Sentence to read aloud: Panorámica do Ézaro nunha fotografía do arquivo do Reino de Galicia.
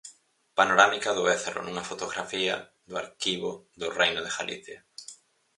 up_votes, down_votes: 4, 0